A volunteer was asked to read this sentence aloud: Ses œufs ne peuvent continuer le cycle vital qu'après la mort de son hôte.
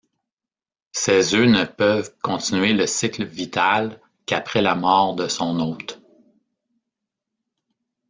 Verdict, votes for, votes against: accepted, 2, 0